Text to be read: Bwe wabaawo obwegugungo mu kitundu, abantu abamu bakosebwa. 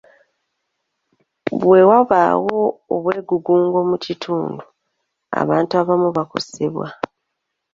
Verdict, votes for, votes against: accepted, 2, 0